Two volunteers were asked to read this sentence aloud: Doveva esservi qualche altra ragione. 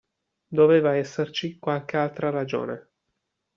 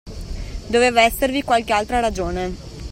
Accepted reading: second